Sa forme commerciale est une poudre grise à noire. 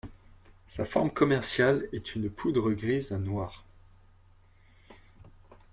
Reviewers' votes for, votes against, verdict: 2, 0, accepted